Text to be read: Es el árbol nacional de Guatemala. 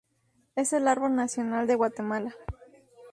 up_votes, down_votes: 2, 0